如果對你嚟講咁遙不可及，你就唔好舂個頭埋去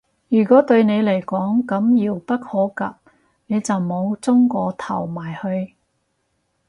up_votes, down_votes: 4, 0